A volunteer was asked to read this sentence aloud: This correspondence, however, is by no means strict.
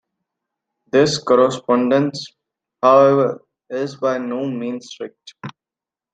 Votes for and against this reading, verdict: 2, 0, accepted